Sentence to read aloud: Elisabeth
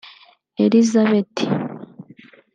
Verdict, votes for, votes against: rejected, 0, 2